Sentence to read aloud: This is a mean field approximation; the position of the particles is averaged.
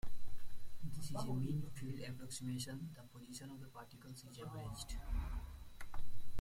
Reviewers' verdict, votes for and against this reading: rejected, 0, 2